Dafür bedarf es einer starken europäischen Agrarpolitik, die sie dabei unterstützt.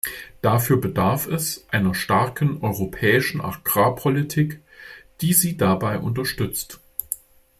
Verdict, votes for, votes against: accepted, 2, 0